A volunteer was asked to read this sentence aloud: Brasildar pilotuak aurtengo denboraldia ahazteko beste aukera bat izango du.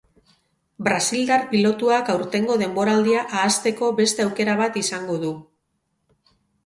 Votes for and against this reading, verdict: 2, 2, rejected